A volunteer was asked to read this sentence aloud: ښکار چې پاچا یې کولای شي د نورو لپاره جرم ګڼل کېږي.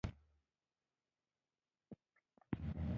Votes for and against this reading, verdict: 1, 2, rejected